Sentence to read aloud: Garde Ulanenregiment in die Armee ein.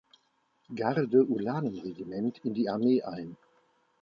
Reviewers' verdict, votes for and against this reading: accepted, 2, 0